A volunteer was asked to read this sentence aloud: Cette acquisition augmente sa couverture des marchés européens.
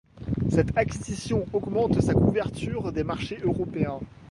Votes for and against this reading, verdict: 1, 2, rejected